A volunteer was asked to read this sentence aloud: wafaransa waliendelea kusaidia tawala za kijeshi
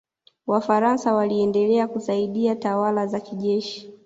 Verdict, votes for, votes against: accepted, 2, 1